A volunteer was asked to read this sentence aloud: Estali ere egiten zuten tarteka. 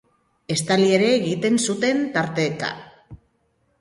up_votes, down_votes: 3, 1